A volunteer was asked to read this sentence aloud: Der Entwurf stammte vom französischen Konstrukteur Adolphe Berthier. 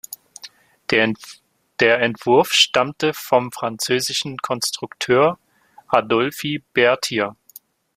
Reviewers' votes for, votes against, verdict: 0, 2, rejected